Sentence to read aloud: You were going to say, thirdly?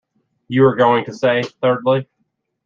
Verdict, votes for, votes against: accepted, 2, 0